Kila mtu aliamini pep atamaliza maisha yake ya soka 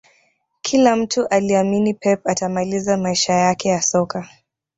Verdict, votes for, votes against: rejected, 1, 2